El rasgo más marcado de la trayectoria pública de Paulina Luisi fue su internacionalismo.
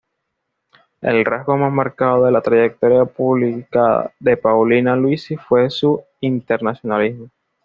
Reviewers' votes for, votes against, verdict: 2, 0, accepted